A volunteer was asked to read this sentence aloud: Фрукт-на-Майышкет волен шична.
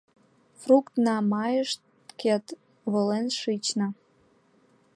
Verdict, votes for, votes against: accepted, 2, 0